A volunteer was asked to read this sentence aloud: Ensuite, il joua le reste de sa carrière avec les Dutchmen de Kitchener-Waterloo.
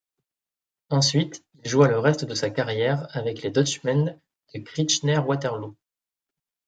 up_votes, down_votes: 2, 1